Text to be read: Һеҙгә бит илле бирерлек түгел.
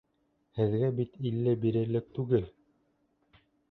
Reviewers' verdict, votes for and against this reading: rejected, 0, 2